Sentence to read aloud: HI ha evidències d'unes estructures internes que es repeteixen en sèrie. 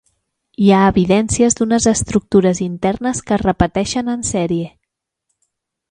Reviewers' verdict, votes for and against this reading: accepted, 4, 0